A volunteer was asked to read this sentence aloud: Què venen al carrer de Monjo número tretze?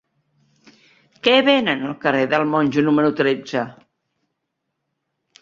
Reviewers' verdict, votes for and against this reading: rejected, 0, 2